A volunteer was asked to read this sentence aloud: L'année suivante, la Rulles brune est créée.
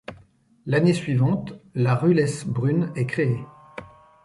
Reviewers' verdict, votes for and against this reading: accepted, 2, 0